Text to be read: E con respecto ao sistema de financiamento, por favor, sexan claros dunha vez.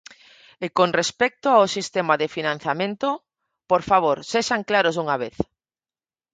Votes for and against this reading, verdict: 0, 4, rejected